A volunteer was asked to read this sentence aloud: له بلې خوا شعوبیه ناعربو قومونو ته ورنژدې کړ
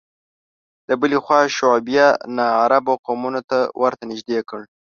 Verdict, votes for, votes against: rejected, 1, 2